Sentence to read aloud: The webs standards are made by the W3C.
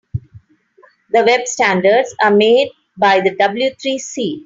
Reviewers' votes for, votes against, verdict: 0, 2, rejected